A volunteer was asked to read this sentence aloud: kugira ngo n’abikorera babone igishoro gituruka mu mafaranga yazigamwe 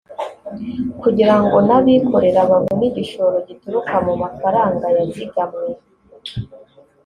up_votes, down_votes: 2, 0